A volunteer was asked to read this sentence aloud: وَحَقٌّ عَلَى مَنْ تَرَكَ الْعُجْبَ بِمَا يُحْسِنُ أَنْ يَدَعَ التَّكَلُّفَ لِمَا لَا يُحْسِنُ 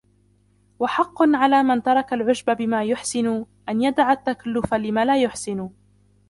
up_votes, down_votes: 2, 1